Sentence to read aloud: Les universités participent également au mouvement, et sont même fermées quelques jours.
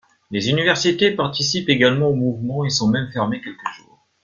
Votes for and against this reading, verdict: 1, 2, rejected